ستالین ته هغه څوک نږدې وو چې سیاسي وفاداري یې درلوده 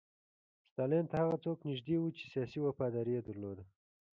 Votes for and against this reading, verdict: 2, 0, accepted